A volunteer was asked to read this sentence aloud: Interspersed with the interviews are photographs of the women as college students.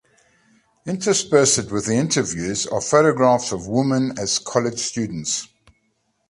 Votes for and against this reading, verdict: 2, 1, accepted